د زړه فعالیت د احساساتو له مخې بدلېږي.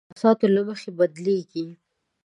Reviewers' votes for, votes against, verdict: 0, 2, rejected